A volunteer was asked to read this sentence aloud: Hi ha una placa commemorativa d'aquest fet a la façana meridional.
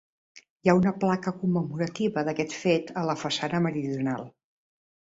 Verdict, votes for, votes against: accepted, 2, 0